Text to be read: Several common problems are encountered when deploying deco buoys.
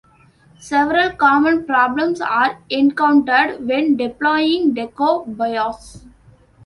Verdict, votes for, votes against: accepted, 2, 0